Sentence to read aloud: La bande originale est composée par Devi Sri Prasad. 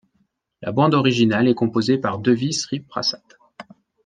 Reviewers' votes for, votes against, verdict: 2, 1, accepted